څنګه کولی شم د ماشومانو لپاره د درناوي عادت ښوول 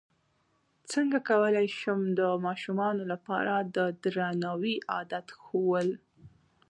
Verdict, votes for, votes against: accepted, 2, 0